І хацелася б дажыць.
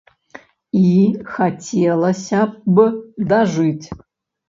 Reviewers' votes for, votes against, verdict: 2, 1, accepted